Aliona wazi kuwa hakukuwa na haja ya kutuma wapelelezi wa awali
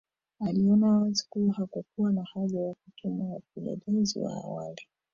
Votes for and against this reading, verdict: 0, 2, rejected